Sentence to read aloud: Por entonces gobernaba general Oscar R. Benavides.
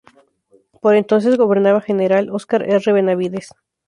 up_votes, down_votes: 2, 0